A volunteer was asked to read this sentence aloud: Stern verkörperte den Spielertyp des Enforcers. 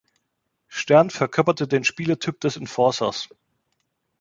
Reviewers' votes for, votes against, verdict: 0, 2, rejected